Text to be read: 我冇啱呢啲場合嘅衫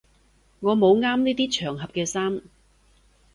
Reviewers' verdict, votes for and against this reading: accepted, 3, 0